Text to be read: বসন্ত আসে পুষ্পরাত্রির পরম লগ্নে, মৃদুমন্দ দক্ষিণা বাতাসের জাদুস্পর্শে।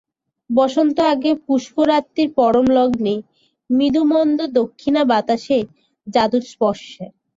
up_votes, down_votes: 4, 5